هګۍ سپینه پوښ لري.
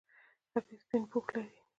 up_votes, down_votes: 1, 2